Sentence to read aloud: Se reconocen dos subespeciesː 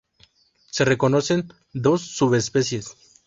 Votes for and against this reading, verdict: 0, 2, rejected